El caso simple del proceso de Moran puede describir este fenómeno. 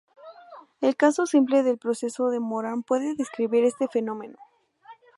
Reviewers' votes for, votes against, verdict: 2, 2, rejected